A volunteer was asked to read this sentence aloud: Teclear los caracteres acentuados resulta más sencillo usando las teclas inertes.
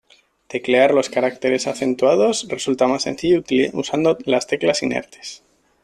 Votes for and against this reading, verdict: 1, 2, rejected